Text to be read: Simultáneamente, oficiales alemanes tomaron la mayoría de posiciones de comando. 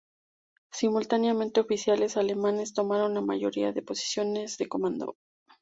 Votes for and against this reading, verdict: 4, 0, accepted